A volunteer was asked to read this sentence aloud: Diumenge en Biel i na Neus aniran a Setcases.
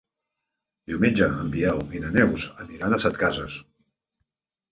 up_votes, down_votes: 1, 2